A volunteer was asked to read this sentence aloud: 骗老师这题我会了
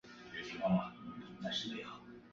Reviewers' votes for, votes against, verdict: 0, 3, rejected